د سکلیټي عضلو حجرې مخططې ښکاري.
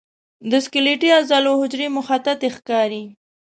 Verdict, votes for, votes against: accepted, 2, 0